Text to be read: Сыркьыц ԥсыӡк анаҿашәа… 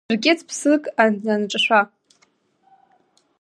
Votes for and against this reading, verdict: 1, 2, rejected